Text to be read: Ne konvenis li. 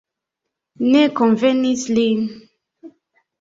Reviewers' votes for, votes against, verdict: 2, 0, accepted